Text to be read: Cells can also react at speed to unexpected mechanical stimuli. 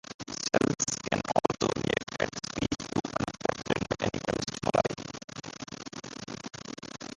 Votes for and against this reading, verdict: 0, 2, rejected